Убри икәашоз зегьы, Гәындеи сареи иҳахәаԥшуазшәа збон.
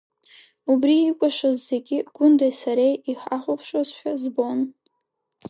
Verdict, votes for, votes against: accepted, 3, 0